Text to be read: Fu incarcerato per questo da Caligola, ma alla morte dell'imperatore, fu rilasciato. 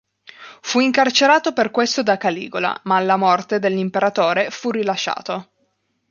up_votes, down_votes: 2, 0